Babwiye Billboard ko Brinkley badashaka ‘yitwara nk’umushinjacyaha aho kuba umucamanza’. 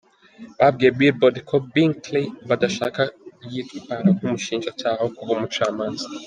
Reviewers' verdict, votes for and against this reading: accepted, 2, 1